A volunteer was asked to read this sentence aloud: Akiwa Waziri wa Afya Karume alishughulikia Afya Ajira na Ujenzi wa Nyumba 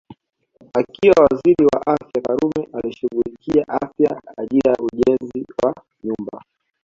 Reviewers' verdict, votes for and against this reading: rejected, 1, 2